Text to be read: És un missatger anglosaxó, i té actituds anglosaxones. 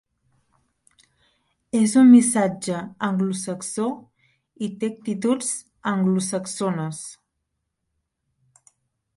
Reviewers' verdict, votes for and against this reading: rejected, 0, 2